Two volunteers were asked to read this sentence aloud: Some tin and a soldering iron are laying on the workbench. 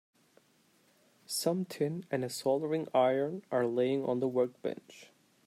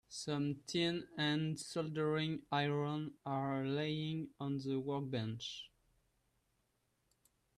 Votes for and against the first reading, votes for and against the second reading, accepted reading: 2, 0, 1, 2, first